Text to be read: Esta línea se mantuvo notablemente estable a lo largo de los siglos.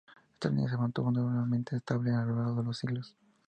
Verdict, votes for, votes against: accepted, 2, 0